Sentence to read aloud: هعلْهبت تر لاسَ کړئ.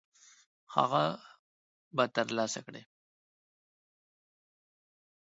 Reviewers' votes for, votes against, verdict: 0, 2, rejected